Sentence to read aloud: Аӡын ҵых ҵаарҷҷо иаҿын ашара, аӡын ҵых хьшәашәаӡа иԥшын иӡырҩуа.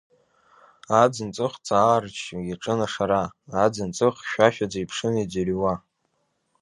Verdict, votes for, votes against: accepted, 2, 0